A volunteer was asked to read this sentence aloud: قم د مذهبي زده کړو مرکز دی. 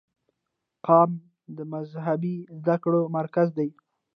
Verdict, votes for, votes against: accepted, 2, 1